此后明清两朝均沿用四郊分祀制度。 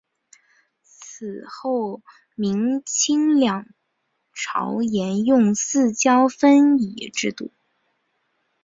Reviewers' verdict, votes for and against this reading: rejected, 0, 2